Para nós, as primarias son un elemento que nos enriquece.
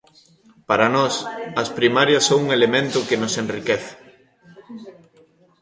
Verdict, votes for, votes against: rejected, 1, 2